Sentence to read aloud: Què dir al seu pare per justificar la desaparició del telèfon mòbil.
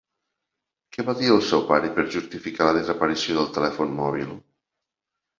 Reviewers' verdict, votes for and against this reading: rejected, 0, 2